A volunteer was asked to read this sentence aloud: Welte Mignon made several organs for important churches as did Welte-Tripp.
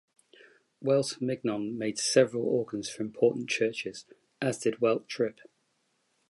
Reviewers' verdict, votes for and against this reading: accepted, 2, 0